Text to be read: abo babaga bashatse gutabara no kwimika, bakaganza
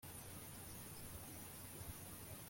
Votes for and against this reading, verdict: 0, 2, rejected